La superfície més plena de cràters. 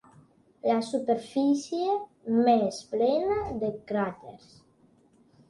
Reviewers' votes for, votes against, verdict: 3, 0, accepted